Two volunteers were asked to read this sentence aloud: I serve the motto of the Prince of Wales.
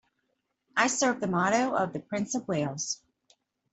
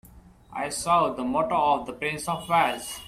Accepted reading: first